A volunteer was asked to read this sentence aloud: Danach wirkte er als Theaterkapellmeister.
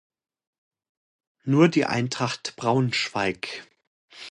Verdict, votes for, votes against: rejected, 0, 2